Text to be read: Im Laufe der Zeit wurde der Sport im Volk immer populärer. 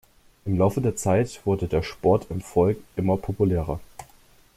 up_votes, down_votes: 2, 0